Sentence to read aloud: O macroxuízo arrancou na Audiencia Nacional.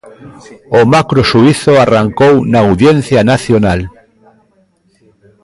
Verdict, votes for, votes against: rejected, 1, 2